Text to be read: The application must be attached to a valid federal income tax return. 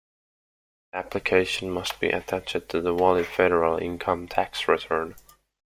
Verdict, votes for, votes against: accepted, 2, 1